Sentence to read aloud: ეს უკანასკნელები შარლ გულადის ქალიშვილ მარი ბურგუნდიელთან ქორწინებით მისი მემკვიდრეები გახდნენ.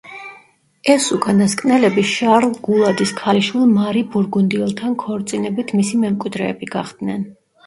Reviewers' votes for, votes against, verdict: 1, 2, rejected